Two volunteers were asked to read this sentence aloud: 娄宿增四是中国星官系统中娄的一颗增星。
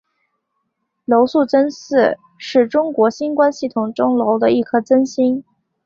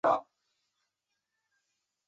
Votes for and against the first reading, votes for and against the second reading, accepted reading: 2, 0, 0, 2, first